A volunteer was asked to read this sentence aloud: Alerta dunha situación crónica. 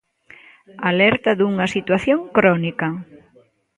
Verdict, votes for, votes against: rejected, 1, 2